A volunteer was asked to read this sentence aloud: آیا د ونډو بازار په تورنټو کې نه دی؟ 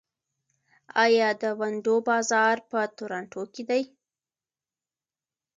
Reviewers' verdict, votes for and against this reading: accepted, 2, 0